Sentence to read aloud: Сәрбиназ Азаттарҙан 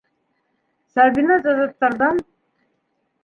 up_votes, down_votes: 1, 2